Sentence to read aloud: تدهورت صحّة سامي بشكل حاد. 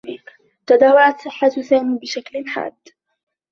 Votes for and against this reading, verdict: 2, 0, accepted